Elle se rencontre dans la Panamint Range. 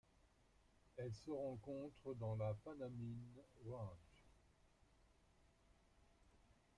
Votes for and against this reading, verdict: 0, 2, rejected